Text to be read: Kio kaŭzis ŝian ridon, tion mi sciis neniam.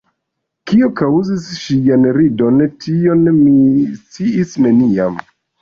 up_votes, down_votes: 2, 0